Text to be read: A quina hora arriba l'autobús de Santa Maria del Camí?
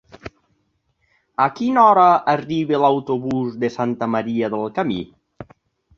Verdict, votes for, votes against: accepted, 3, 0